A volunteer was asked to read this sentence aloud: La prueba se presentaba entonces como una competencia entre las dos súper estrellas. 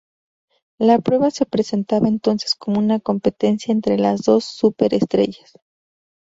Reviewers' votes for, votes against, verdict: 4, 0, accepted